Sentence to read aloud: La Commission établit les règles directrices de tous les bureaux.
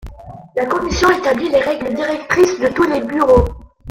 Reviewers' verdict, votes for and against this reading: rejected, 1, 2